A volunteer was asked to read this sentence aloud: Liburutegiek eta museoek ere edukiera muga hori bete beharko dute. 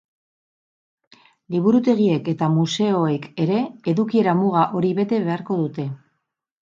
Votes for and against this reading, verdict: 4, 0, accepted